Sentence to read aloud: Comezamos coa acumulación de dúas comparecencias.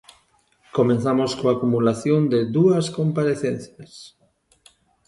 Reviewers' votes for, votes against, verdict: 0, 2, rejected